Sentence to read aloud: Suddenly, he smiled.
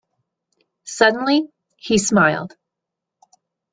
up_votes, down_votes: 2, 0